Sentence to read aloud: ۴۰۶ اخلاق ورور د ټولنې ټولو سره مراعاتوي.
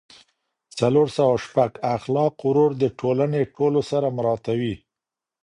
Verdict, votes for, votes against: rejected, 0, 2